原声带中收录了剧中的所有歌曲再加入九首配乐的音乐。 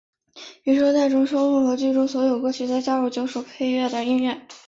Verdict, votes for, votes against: rejected, 1, 2